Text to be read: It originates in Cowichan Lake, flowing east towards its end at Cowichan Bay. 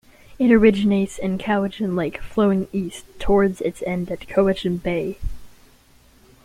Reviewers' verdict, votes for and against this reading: rejected, 1, 2